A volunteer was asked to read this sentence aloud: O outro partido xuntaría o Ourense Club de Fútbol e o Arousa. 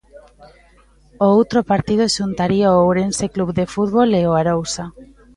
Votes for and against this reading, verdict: 1, 2, rejected